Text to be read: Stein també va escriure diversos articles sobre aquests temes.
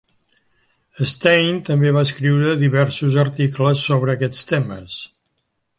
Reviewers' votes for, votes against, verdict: 3, 0, accepted